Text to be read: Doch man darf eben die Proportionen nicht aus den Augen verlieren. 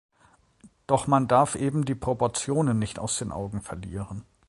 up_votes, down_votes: 2, 0